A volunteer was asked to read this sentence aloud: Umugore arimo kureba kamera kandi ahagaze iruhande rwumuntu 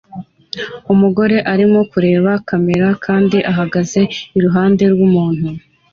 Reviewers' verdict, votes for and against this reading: accepted, 2, 0